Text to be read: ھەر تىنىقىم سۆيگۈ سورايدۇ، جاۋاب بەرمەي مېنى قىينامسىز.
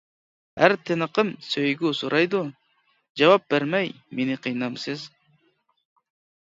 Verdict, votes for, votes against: accepted, 2, 0